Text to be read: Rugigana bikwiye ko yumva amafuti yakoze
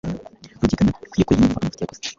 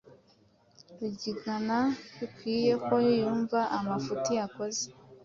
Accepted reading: second